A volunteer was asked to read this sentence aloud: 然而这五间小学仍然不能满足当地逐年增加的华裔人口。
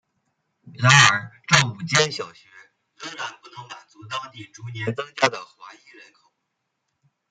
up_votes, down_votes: 0, 2